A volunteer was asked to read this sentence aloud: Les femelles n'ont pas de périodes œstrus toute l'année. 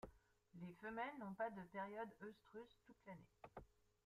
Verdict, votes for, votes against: accepted, 2, 0